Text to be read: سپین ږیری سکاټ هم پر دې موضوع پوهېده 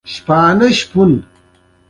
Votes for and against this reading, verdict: 1, 2, rejected